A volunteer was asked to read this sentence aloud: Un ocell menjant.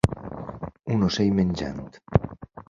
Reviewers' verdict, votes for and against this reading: rejected, 1, 2